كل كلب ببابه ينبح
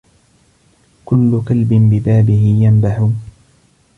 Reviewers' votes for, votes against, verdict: 2, 0, accepted